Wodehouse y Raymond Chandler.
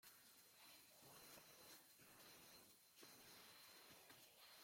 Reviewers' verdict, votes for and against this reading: rejected, 0, 2